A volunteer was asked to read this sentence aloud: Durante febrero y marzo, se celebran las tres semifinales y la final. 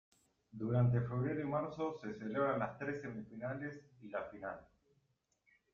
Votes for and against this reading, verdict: 2, 1, accepted